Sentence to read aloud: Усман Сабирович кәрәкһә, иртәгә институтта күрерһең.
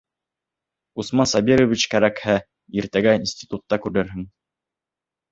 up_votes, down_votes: 2, 0